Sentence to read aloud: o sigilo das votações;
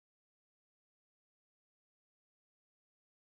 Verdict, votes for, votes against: rejected, 0, 3